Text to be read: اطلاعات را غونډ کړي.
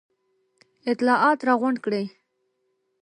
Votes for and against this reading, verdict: 1, 2, rejected